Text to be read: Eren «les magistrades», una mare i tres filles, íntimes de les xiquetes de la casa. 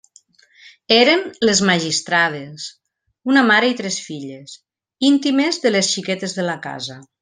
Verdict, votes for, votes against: accepted, 3, 0